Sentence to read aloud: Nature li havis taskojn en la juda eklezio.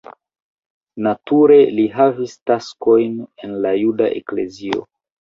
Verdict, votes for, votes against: rejected, 1, 2